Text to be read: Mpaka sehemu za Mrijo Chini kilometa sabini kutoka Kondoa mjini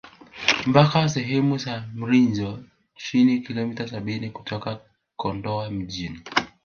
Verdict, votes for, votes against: rejected, 0, 3